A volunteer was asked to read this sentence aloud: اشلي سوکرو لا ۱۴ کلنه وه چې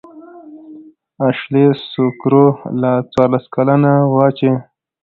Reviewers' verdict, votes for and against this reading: rejected, 0, 2